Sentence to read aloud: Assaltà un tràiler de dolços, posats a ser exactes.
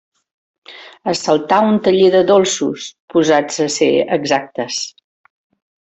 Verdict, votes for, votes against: rejected, 0, 2